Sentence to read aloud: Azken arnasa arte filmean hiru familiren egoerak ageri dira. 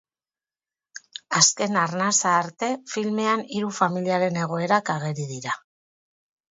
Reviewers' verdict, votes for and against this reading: rejected, 0, 2